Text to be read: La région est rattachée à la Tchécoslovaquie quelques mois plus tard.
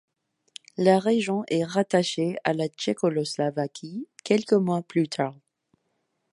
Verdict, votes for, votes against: rejected, 1, 2